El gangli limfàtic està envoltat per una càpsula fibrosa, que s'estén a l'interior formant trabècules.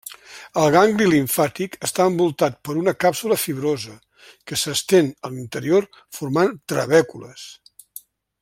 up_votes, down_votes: 2, 0